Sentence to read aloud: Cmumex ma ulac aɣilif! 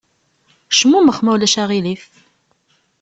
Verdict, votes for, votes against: accepted, 2, 0